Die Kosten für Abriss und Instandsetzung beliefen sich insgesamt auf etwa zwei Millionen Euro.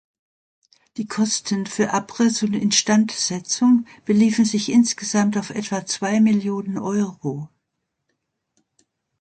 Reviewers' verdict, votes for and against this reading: accepted, 2, 0